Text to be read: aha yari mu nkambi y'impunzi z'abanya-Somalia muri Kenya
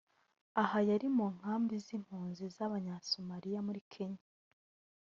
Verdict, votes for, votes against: rejected, 1, 2